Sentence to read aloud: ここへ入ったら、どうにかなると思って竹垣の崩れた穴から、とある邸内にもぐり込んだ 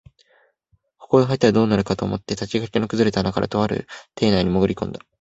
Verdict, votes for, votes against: accepted, 2, 1